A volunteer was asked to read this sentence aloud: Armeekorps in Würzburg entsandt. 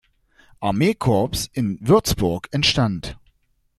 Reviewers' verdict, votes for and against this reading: rejected, 0, 2